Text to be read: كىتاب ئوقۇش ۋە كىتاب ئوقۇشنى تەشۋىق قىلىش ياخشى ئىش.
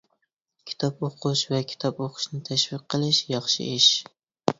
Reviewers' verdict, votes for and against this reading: accepted, 2, 0